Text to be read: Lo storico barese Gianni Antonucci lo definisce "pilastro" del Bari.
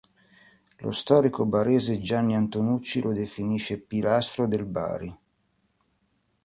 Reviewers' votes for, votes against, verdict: 3, 0, accepted